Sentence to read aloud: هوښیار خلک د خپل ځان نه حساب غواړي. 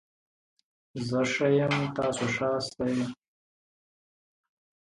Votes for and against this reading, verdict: 0, 2, rejected